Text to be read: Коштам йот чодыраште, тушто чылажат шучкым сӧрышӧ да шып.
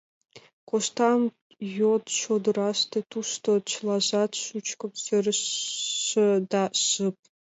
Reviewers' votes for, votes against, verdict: 1, 2, rejected